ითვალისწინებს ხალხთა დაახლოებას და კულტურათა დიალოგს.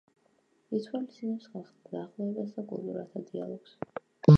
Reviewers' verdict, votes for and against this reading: rejected, 1, 2